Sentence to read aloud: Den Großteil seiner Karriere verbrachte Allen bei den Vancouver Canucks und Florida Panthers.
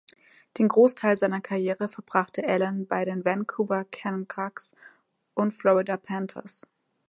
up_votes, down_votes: 1, 3